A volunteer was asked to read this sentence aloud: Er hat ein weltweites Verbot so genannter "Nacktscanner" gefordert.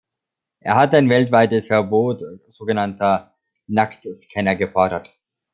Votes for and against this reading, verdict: 3, 0, accepted